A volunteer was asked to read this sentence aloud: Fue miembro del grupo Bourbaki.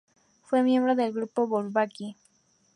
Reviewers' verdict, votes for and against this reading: accepted, 2, 0